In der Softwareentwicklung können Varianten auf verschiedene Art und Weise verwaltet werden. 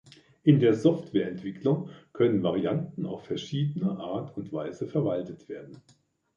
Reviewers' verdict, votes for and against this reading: accepted, 2, 0